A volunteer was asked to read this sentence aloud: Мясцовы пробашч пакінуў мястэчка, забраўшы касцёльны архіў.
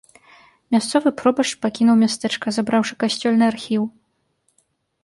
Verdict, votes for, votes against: accepted, 2, 0